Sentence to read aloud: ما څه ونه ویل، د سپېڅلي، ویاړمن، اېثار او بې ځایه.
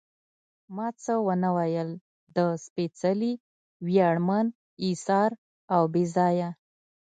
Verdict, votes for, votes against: accepted, 2, 0